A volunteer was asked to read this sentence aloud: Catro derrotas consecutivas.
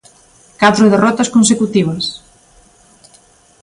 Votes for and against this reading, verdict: 2, 0, accepted